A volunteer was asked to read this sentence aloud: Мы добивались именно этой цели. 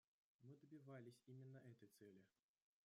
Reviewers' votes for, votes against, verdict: 0, 2, rejected